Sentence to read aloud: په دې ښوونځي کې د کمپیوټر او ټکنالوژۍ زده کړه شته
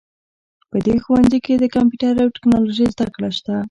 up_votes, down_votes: 2, 0